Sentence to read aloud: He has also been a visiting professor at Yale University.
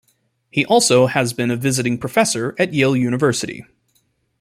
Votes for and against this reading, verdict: 1, 2, rejected